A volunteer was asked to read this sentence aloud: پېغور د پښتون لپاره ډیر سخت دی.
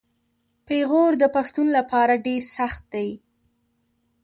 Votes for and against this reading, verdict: 0, 2, rejected